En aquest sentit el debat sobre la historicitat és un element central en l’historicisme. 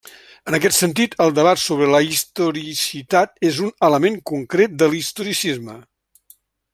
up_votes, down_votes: 1, 2